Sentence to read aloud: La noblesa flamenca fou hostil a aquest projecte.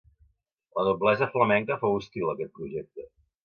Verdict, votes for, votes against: accepted, 2, 0